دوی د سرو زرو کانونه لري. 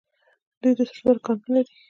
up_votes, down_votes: 1, 2